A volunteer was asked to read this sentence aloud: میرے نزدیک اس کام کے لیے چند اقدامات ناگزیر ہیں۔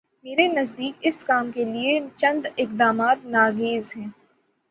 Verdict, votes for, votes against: rejected, 3, 6